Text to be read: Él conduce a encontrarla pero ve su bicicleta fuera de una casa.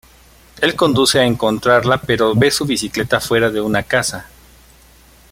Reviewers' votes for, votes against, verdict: 2, 0, accepted